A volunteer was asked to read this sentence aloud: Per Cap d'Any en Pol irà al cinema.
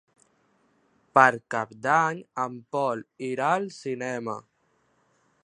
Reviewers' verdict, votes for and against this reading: accepted, 3, 0